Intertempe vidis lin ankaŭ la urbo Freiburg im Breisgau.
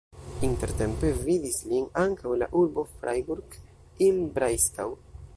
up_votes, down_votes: 0, 2